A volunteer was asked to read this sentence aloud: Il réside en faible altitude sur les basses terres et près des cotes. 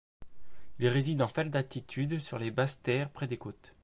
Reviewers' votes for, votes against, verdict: 2, 1, accepted